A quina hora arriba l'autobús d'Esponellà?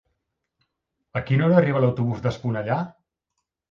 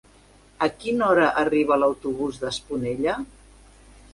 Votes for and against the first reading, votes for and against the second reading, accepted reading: 2, 0, 0, 2, first